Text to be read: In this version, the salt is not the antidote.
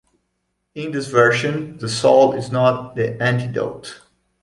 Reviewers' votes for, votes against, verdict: 2, 0, accepted